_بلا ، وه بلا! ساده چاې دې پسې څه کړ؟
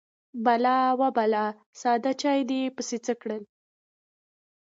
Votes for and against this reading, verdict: 1, 2, rejected